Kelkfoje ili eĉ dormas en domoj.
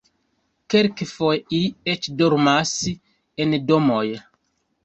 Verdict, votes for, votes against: rejected, 0, 2